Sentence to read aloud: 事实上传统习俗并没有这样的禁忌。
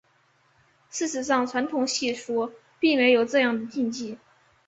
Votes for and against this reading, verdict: 5, 0, accepted